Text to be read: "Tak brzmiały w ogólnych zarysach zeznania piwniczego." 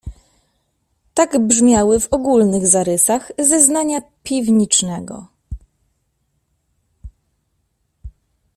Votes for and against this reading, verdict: 1, 2, rejected